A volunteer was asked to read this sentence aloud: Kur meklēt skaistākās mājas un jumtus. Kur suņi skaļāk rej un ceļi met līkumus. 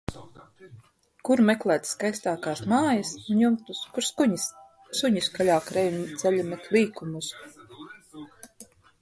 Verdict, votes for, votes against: rejected, 0, 2